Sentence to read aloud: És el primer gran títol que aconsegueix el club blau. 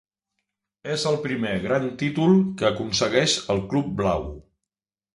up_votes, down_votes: 3, 0